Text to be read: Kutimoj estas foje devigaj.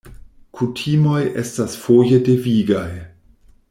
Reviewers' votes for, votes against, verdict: 1, 2, rejected